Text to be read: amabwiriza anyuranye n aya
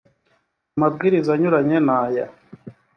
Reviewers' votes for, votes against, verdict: 3, 0, accepted